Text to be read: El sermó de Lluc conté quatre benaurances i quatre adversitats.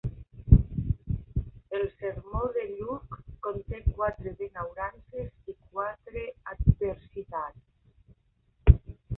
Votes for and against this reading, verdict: 2, 1, accepted